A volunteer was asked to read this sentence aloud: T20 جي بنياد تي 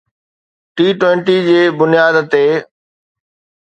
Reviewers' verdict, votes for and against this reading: rejected, 0, 2